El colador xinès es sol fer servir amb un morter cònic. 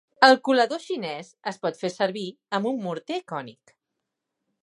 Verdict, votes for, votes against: rejected, 1, 2